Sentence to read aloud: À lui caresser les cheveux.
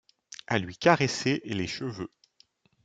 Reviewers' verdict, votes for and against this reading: accepted, 2, 0